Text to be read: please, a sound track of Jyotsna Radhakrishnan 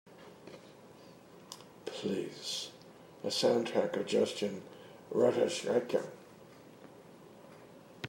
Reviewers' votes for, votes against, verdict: 1, 2, rejected